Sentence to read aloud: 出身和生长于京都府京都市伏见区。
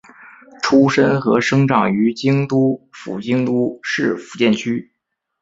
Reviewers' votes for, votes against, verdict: 2, 0, accepted